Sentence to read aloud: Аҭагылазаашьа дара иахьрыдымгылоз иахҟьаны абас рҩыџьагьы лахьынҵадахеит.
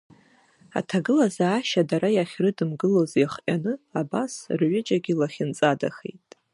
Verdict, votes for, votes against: rejected, 0, 2